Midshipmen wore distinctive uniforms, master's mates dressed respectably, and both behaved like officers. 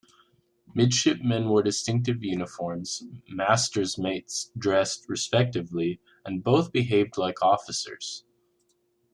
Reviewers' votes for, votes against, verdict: 2, 0, accepted